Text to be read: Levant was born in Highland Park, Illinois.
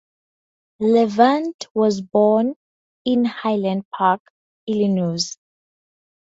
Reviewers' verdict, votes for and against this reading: accepted, 4, 0